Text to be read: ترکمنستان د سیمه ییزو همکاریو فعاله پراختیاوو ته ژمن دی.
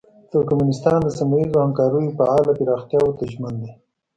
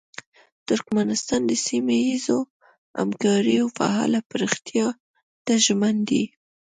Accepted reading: first